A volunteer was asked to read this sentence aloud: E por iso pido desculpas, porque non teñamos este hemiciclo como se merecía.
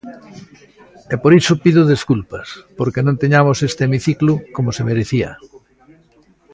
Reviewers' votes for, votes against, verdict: 1, 2, rejected